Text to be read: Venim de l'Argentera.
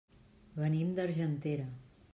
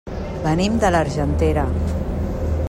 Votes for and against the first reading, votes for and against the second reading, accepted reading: 1, 2, 3, 0, second